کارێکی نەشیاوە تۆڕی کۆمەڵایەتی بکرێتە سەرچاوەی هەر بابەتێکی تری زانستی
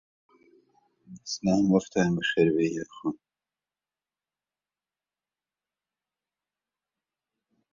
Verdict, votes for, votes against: rejected, 0, 2